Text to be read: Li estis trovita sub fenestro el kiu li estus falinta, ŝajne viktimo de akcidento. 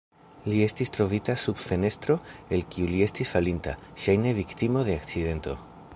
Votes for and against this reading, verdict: 2, 1, accepted